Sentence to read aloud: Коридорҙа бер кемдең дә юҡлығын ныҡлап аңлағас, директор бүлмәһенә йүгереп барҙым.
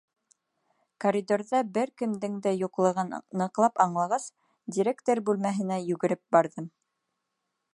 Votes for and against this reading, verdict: 3, 1, accepted